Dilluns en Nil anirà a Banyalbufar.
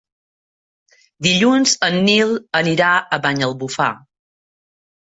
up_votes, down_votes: 3, 0